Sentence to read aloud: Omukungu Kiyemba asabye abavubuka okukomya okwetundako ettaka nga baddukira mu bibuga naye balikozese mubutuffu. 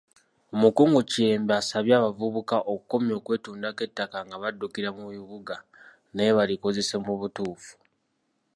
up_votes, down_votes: 2, 0